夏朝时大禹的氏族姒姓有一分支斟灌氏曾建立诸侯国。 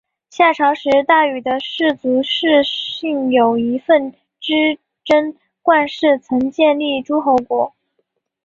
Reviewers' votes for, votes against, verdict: 2, 3, rejected